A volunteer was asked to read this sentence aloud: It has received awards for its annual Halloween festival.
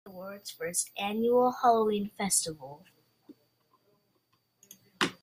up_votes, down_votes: 0, 2